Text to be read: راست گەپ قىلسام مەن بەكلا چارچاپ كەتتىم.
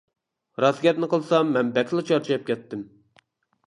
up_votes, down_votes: 0, 2